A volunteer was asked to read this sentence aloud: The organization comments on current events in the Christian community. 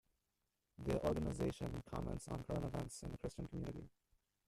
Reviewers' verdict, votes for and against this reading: rejected, 0, 2